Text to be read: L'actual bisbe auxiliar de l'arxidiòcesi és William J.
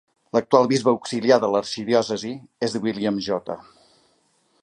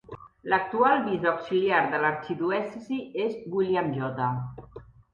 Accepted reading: first